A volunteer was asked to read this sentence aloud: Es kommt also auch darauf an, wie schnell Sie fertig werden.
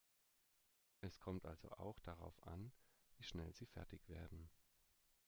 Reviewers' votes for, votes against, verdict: 2, 0, accepted